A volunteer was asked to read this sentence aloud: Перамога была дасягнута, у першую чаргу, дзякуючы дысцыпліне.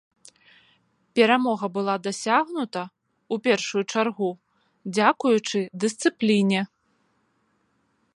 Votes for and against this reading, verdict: 2, 0, accepted